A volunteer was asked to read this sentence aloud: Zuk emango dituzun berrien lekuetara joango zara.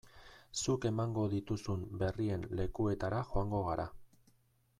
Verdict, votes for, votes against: rejected, 0, 2